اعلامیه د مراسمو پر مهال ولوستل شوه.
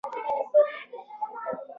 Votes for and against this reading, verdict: 0, 2, rejected